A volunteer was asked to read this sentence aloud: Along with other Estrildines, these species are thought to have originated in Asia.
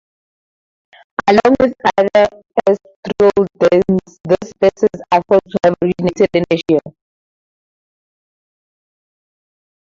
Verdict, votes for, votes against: rejected, 2, 4